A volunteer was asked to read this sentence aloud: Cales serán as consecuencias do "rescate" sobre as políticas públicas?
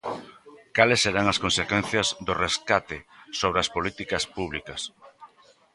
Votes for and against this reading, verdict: 1, 2, rejected